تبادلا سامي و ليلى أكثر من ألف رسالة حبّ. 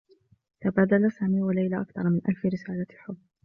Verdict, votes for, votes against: accepted, 2, 1